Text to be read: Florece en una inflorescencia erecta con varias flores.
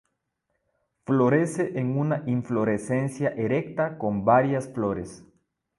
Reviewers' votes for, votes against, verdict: 2, 0, accepted